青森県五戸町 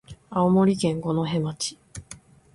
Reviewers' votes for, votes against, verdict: 2, 0, accepted